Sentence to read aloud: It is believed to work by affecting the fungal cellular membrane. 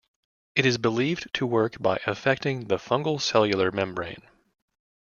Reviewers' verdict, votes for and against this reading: accepted, 2, 0